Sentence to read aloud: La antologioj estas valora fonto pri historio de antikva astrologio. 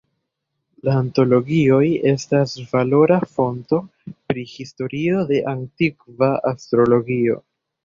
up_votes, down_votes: 2, 0